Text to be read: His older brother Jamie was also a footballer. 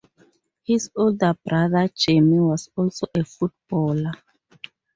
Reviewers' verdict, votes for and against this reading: accepted, 4, 0